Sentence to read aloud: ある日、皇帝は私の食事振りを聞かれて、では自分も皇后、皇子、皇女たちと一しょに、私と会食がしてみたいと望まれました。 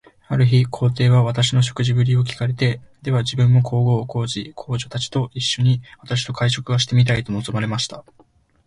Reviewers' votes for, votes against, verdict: 2, 1, accepted